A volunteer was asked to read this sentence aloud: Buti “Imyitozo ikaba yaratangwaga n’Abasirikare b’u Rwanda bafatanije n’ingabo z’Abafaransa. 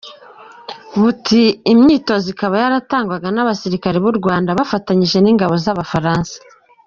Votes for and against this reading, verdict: 2, 0, accepted